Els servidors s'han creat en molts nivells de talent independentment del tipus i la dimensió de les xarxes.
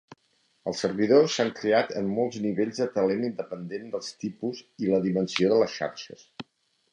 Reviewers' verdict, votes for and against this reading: rejected, 0, 2